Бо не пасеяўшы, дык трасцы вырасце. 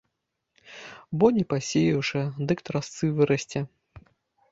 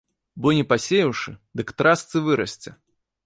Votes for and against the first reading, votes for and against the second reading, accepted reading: 1, 2, 2, 0, second